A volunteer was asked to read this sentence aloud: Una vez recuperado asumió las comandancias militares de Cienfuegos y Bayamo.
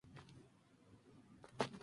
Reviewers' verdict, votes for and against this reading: rejected, 0, 4